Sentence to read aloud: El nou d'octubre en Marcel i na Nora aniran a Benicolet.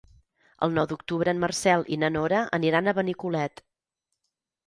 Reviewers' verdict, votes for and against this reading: accepted, 6, 0